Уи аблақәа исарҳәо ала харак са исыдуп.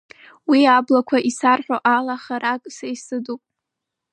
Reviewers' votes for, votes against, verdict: 0, 2, rejected